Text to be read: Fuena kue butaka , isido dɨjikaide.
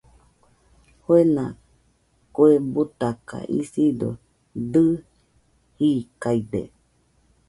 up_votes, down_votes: 2, 1